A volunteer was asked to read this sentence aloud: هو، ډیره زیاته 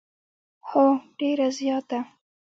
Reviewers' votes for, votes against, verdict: 1, 2, rejected